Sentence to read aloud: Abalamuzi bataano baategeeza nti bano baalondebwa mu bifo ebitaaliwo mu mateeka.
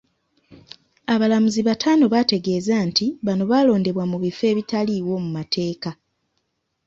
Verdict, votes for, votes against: accepted, 2, 0